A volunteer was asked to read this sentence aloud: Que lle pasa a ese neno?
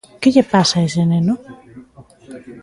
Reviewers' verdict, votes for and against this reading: rejected, 1, 2